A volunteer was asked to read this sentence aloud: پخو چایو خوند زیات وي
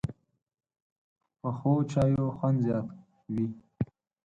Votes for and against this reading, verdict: 4, 0, accepted